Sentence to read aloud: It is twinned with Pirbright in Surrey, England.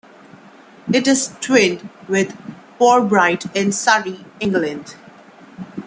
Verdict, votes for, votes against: accepted, 2, 0